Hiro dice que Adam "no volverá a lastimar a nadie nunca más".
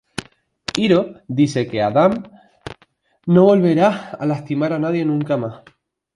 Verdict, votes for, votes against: rejected, 0, 2